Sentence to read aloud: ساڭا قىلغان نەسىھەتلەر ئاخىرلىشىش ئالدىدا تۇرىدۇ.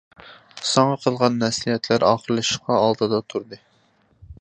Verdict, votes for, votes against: rejected, 0, 2